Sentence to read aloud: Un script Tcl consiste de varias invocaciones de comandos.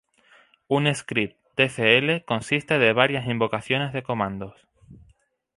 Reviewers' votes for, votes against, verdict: 2, 0, accepted